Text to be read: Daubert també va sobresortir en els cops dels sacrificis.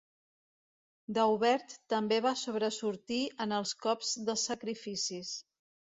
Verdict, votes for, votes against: rejected, 1, 2